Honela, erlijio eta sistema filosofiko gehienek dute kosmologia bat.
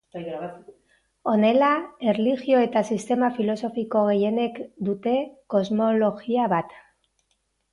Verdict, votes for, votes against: rejected, 0, 2